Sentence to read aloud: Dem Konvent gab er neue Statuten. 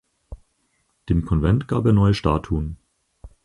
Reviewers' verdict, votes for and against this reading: rejected, 2, 4